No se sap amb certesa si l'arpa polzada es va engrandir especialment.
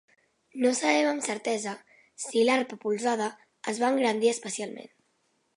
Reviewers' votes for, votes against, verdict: 0, 2, rejected